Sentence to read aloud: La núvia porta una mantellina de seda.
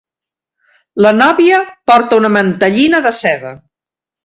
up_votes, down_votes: 1, 2